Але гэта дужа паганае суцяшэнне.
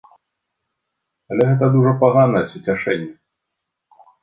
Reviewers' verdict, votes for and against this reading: accepted, 2, 0